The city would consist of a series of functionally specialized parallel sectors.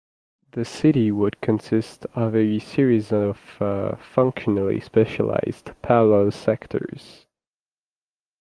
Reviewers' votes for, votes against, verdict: 0, 2, rejected